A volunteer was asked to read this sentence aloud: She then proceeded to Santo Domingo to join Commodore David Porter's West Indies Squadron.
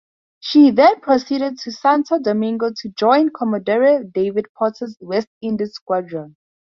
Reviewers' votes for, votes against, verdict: 2, 0, accepted